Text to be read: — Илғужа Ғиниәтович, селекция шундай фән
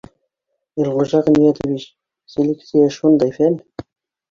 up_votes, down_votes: 0, 2